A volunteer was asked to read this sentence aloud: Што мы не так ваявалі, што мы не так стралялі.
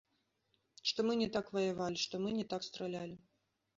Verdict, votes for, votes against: accepted, 2, 0